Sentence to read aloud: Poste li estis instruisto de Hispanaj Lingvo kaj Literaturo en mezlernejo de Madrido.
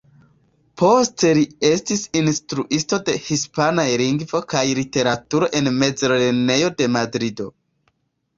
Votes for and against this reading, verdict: 2, 0, accepted